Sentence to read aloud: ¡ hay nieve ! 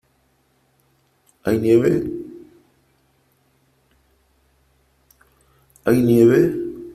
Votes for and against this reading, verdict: 1, 2, rejected